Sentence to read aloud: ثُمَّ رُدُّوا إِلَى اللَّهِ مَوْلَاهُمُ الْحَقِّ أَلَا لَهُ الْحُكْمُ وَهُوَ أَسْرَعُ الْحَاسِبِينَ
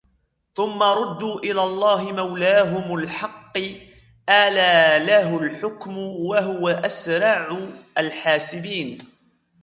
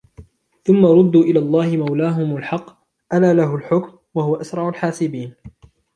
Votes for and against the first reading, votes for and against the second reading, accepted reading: 2, 0, 1, 2, first